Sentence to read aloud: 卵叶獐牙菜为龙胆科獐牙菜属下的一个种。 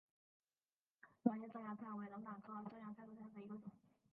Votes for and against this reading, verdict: 1, 2, rejected